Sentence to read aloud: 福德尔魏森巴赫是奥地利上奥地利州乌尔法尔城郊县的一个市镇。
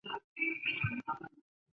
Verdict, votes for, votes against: rejected, 0, 3